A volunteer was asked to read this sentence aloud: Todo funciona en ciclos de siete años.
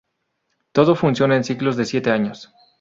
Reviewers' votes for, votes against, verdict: 2, 0, accepted